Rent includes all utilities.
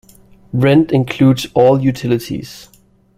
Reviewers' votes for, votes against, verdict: 3, 0, accepted